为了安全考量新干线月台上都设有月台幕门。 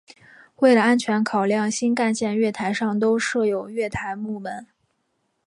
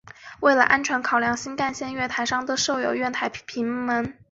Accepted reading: first